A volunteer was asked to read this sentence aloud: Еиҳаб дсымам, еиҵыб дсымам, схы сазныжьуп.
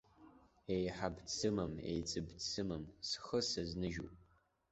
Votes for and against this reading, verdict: 0, 2, rejected